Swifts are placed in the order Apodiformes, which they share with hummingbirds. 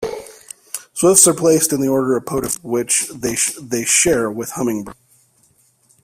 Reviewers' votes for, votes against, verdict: 1, 2, rejected